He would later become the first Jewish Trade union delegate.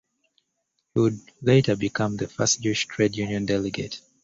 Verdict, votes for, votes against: accepted, 2, 1